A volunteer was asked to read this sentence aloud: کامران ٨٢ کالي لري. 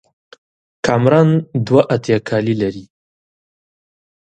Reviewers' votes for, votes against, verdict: 0, 2, rejected